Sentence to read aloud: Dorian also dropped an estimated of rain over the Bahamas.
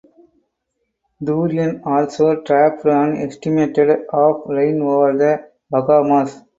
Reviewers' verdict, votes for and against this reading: accepted, 4, 0